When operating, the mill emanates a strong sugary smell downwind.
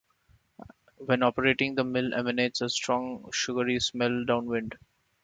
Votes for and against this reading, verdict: 2, 0, accepted